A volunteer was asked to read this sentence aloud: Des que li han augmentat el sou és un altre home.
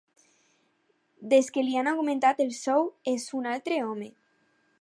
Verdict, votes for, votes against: accepted, 4, 0